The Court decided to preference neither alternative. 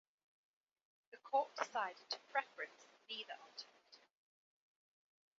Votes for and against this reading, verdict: 2, 1, accepted